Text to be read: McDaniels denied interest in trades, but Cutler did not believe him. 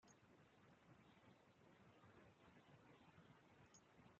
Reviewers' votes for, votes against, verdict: 0, 2, rejected